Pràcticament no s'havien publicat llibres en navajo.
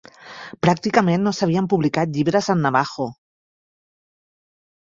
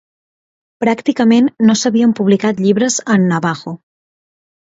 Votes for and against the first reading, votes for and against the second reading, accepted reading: 0, 2, 2, 0, second